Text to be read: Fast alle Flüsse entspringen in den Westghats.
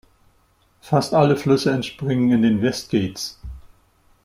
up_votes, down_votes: 1, 2